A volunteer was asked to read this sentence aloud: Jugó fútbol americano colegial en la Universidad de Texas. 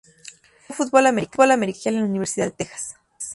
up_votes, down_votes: 0, 4